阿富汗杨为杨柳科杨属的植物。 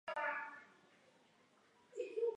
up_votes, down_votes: 1, 5